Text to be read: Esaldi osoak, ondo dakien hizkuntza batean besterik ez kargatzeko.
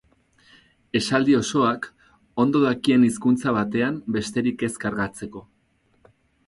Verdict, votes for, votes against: accepted, 4, 0